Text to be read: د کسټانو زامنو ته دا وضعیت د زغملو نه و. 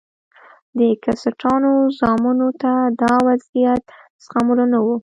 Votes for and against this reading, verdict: 1, 2, rejected